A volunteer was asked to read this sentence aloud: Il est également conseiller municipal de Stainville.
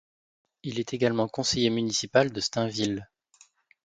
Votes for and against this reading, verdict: 2, 0, accepted